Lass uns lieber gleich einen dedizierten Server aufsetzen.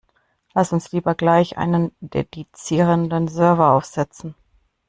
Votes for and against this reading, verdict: 0, 2, rejected